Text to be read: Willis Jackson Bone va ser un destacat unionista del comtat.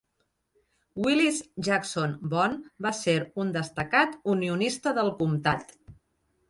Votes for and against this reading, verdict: 2, 0, accepted